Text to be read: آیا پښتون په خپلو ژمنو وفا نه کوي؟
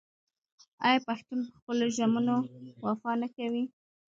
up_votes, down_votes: 2, 1